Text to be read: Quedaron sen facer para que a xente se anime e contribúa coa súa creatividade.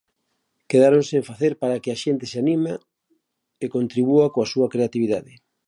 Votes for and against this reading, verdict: 0, 2, rejected